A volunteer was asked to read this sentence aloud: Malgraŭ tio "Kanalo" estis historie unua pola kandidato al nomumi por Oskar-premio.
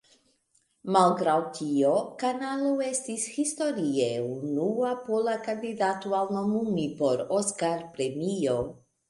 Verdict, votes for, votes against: accepted, 2, 0